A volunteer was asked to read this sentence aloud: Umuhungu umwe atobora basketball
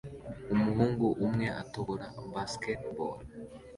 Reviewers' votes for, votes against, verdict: 2, 0, accepted